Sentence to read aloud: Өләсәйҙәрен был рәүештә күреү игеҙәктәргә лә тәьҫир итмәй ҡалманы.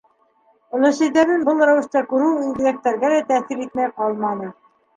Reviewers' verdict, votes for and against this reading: rejected, 2, 3